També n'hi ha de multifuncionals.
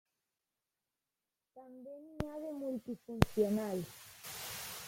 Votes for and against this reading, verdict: 1, 2, rejected